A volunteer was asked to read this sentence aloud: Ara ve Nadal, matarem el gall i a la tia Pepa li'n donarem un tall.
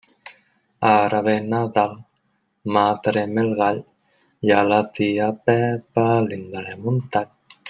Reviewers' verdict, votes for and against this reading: rejected, 1, 2